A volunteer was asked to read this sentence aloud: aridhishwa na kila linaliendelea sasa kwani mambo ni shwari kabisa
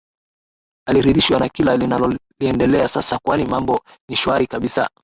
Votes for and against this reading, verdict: 5, 3, accepted